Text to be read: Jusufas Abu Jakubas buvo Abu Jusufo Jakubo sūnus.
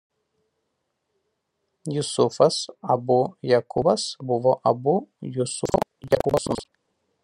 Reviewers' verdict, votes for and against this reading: rejected, 0, 2